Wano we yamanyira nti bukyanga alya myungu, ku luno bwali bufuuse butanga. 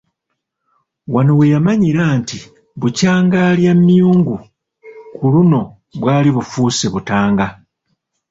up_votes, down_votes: 2, 0